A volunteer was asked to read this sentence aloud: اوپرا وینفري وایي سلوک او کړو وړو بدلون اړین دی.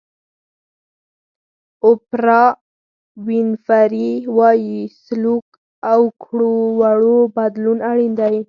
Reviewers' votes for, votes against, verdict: 2, 4, rejected